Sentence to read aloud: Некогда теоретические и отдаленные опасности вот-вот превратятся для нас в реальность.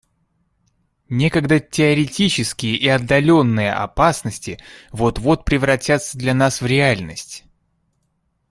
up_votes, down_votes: 2, 0